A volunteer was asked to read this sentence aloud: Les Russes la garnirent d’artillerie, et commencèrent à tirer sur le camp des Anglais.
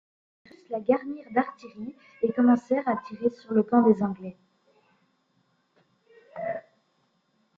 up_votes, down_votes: 0, 2